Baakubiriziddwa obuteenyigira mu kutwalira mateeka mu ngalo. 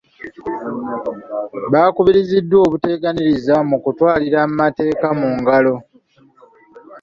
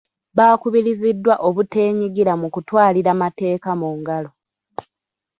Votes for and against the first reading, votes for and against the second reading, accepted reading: 1, 2, 2, 1, second